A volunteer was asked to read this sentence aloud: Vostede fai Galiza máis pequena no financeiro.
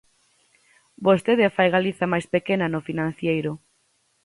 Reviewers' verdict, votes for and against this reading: rejected, 0, 4